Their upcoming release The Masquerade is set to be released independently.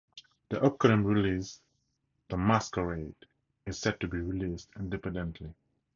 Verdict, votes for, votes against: accepted, 4, 0